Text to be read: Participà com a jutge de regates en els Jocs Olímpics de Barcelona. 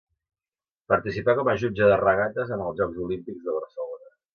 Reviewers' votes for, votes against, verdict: 2, 0, accepted